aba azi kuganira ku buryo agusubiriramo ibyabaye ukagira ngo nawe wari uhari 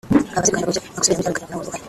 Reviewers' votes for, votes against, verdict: 0, 2, rejected